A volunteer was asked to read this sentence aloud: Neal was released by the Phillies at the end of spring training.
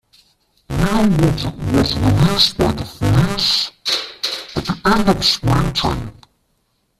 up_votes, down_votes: 0, 2